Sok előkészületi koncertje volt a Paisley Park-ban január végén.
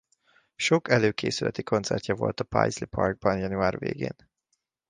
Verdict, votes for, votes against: accepted, 2, 0